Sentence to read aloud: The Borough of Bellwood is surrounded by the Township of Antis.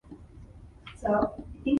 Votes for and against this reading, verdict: 0, 2, rejected